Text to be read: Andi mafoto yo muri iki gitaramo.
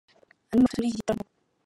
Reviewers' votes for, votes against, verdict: 0, 3, rejected